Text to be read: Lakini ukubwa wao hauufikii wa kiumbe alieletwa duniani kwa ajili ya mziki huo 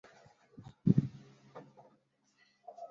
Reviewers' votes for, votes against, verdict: 0, 2, rejected